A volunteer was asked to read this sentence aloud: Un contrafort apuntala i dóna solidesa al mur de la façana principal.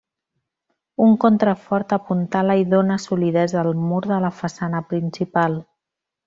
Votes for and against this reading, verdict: 2, 0, accepted